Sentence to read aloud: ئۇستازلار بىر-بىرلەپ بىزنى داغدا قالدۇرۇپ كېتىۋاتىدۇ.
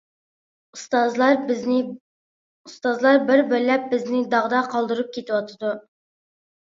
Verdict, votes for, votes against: rejected, 0, 2